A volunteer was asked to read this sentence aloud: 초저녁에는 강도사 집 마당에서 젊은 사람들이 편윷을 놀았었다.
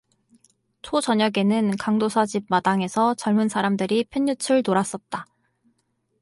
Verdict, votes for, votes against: rejected, 0, 2